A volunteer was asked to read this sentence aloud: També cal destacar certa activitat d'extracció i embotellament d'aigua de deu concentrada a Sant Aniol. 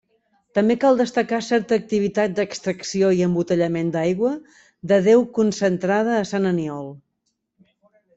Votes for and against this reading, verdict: 1, 2, rejected